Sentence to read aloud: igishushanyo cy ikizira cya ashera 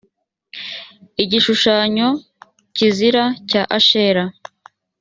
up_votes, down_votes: 2, 4